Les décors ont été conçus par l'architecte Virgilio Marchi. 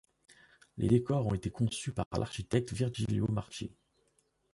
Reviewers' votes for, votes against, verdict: 2, 0, accepted